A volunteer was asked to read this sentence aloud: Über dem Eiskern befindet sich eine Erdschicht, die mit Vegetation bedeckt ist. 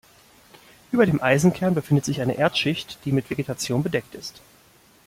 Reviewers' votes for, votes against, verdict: 0, 2, rejected